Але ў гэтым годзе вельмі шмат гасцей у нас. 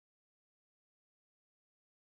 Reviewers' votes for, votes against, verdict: 0, 2, rejected